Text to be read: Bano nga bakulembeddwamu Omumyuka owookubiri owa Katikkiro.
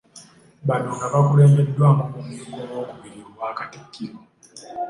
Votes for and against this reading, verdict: 2, 0, accepted